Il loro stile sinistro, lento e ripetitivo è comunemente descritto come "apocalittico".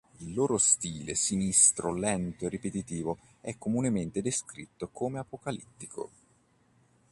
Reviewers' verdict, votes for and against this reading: accepted, 4, 0